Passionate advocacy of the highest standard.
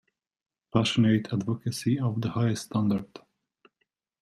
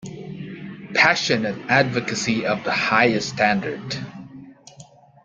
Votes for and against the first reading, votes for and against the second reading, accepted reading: 0, 2, 2, 0, second